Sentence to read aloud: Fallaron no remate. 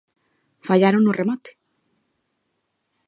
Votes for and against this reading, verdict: 2, 0, accepted